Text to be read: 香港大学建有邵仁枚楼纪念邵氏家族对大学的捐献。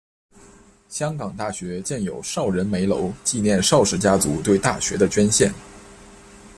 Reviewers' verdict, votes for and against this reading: accepted, 2, 0